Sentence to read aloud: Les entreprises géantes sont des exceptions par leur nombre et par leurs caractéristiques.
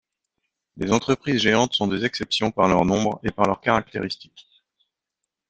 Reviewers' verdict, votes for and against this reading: rejected, 1, 2